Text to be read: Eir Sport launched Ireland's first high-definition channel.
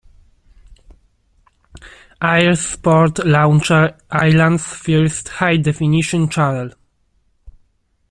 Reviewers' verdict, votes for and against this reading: rejected, 0, 2